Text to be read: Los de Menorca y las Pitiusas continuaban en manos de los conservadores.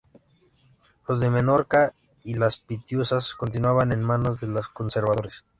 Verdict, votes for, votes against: accepted, 3, 0